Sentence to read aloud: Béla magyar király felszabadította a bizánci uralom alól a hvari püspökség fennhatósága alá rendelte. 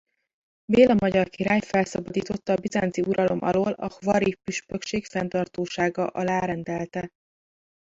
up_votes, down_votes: 0, 2